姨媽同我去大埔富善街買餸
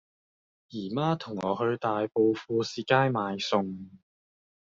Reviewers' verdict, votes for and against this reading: accepted, 2, 1